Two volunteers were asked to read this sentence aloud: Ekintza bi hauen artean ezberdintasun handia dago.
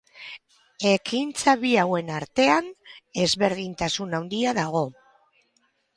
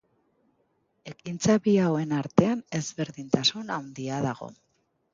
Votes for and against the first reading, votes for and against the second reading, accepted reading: 0, 4, 2, 0, second